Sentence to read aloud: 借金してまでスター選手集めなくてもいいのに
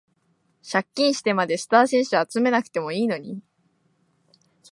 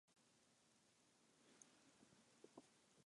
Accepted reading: first